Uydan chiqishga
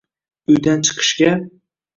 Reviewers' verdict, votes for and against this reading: accepted, 2, 0